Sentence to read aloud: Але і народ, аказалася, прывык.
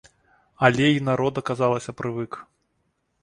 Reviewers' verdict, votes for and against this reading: rejected, 1, 2